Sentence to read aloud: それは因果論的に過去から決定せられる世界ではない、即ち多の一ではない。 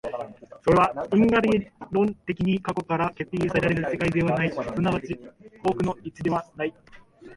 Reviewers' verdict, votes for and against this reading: rejected, 1, 2